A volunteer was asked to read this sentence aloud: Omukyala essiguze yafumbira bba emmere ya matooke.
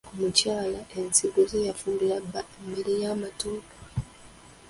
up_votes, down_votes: 0, 2